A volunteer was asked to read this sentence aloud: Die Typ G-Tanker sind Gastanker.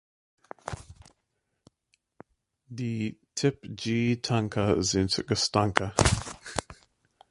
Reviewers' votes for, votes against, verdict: 0, 2, rejected